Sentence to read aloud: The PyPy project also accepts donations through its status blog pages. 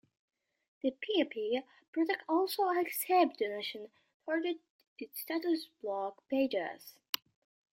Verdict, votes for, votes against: rejected, 1, 2